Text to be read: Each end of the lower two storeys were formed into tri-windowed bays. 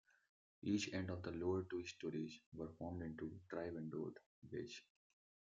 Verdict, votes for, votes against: rejected, 0, 2